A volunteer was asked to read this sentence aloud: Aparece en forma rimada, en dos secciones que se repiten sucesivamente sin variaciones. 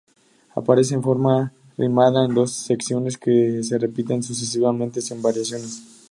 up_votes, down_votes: 0, 2